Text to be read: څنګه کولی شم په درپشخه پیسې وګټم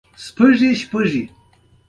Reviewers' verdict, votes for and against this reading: accepted, 2, 1